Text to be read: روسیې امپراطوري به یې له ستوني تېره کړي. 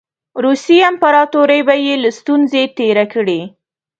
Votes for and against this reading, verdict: 0, 2, rejected